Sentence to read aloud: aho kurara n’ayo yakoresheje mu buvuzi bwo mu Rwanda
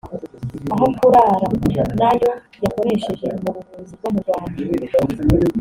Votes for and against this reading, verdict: 1, 2, rejected